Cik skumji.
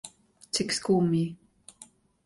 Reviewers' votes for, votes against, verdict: 2, 0, accepted